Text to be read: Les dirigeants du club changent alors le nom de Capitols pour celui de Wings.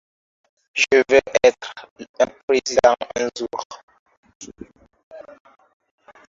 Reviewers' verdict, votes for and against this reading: rejected, 0, 2